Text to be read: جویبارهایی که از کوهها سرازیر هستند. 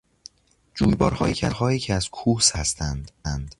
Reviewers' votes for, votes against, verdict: 0, 2, rejected